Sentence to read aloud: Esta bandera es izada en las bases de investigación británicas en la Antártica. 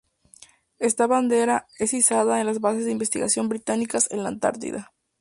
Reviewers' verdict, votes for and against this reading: rejected, 2, 2